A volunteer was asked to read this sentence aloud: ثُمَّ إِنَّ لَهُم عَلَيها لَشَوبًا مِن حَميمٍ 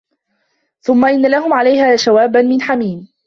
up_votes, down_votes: 2, 1